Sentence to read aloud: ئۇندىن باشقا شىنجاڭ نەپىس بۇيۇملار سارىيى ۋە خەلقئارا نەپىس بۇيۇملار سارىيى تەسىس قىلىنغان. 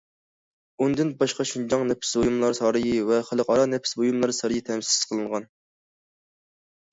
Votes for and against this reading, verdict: 2, 1, accepted